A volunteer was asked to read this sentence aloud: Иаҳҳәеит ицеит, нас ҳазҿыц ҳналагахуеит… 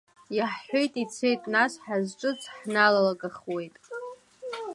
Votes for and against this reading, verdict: 2, 1, accepted